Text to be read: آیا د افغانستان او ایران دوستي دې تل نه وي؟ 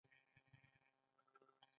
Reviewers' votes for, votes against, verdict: 1, 2, rejected